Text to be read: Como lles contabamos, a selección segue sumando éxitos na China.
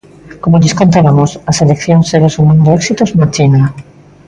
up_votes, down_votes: 0, 2